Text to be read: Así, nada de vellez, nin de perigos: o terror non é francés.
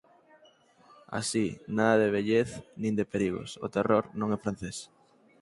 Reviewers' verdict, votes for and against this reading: accepted, 4, 0